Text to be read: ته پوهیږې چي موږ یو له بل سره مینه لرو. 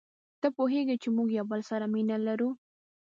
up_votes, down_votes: 1, 2